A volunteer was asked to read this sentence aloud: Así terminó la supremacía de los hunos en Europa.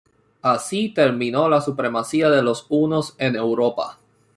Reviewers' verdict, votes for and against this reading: accepted, 2, 1